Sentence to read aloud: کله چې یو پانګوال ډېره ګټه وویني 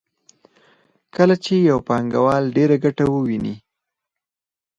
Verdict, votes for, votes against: accepted, 4, 2